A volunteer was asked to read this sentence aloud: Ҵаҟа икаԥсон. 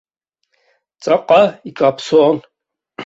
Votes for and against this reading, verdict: 2, 0, accepted